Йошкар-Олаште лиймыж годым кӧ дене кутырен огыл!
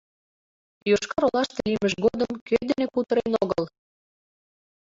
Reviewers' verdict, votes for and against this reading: rejected, 0, 2